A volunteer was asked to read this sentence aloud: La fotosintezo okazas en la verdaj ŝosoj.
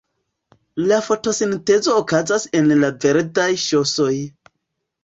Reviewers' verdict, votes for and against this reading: accepted, 3, 1